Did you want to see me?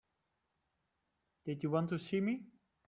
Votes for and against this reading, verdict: 3, 0, accepted